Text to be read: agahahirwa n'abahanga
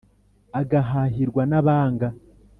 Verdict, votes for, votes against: rejected, 1, 2